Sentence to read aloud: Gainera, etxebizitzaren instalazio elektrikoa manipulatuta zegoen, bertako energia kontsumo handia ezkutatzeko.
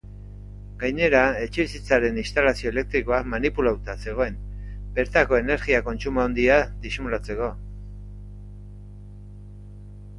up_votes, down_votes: 0, 2